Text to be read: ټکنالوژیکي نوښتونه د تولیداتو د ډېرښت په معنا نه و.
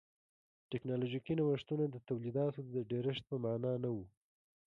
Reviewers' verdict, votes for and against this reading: accepted, 2, 0